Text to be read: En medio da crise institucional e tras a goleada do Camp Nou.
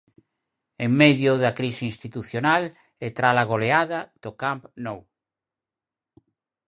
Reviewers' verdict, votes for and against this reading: rejected, 2, 4